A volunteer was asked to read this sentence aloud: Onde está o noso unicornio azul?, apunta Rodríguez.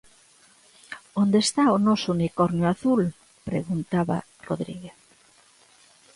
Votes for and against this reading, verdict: 0, 2, rejected